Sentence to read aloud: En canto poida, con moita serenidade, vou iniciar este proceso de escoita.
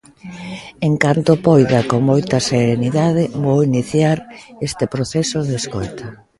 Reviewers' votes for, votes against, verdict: 2, 0, accepted